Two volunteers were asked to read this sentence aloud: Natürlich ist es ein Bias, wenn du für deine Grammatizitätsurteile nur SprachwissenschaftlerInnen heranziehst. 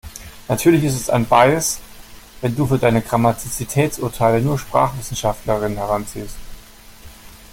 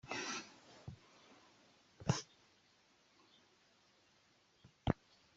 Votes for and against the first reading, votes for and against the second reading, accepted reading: 2, 0, 0, 2, first